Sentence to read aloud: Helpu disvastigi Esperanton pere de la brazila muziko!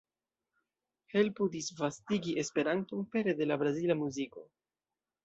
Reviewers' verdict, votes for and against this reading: accepted, 2, 1